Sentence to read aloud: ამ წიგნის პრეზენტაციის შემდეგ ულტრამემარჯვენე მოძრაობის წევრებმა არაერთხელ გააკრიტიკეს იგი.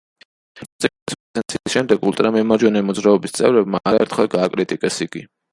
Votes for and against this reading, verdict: 0, 2, rejected